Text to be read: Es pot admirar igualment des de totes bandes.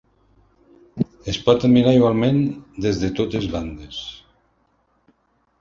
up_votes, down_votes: 2, 0